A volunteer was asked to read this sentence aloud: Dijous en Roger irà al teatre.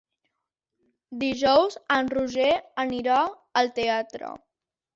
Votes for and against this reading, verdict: 1, 2, rejected